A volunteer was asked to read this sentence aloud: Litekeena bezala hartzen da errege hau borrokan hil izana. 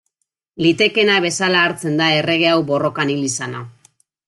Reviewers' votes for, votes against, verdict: 2, 0, accepted